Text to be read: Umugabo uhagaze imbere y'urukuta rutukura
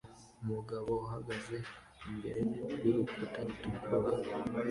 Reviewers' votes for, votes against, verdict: 0, 2, rejected